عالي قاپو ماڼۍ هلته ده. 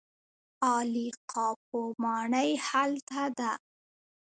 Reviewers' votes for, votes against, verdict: 2, 0, accepted